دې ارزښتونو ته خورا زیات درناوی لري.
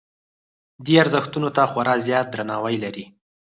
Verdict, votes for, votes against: rejected, 2, 4